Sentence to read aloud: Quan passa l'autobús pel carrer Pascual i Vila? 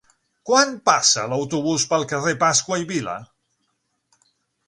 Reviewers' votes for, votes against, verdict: 0, 6, rejected